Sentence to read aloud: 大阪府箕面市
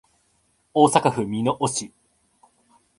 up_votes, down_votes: 2, 0